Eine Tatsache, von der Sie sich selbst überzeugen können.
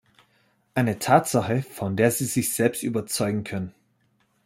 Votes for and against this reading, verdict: 2, 0, accepted